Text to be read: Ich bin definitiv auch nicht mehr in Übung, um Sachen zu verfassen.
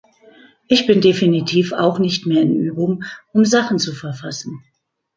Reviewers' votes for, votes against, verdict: 2, 0, accepted